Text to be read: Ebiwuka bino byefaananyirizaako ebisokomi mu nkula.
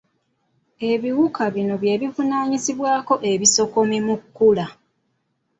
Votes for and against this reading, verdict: 1, 2, rejected